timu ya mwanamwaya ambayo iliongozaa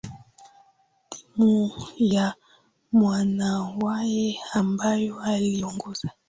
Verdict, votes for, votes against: rejected, 0, 2